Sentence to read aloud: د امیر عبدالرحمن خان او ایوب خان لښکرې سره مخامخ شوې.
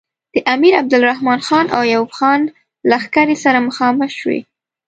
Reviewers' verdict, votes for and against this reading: accepted, 2, 0